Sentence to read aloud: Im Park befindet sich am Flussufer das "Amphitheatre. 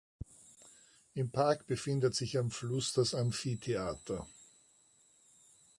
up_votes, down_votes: 1, 2